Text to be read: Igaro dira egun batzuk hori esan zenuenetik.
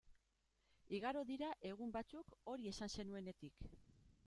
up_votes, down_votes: 2, 0